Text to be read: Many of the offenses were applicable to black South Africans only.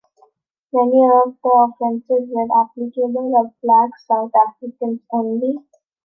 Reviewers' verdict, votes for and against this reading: rejected, 0, 2